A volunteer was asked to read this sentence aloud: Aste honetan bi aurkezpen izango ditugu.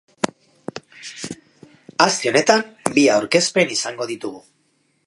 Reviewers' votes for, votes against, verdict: 2, 0, accepted